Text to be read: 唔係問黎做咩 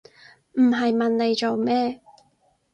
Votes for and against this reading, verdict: 2, 2, rejected